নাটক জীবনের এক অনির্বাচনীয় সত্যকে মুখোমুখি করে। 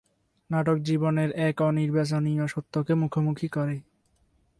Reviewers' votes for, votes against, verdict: 2, 0, accepted